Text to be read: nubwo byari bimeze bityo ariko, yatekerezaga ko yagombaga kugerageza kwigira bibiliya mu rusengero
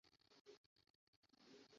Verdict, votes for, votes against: rejected, 0, 2